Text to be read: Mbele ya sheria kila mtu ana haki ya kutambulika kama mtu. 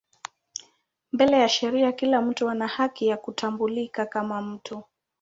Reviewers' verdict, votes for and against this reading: accepted, 15, 2